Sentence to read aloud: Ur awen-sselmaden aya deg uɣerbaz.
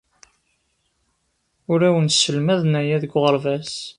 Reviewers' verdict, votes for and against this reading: accepted, 2, 0